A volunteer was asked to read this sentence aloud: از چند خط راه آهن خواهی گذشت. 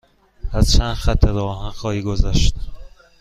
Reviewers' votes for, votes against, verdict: 2, 0, accepted